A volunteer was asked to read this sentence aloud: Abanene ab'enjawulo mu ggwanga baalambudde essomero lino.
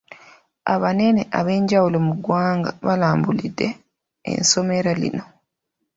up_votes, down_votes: 0, 2